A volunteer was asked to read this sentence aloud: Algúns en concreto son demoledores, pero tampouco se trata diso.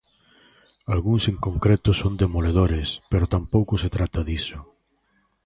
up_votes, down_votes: 2, 0